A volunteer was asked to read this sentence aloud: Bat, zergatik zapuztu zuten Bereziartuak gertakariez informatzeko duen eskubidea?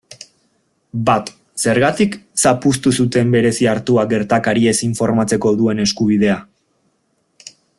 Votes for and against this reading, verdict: 2, 0, accepted